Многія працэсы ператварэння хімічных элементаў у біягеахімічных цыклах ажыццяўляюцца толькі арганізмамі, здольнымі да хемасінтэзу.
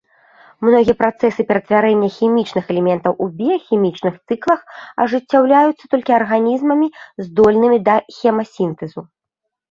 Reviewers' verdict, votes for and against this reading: rejected, 2, 3